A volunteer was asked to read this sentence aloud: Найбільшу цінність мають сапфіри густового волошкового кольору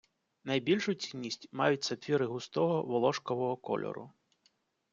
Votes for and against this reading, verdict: 2, 0, accepted